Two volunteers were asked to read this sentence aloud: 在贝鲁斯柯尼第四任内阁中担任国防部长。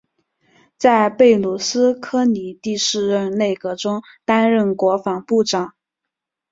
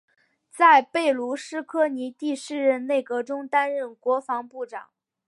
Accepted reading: first